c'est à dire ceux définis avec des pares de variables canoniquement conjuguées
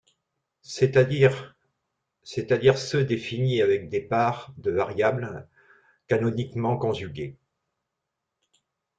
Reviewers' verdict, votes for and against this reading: rejected, 0, 2